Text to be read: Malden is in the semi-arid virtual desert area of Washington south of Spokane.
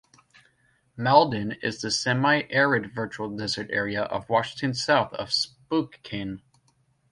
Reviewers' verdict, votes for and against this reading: rejected, 1, 2